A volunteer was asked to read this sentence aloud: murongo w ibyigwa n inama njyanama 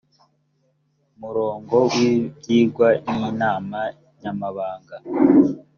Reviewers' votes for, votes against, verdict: 1, 2, rejected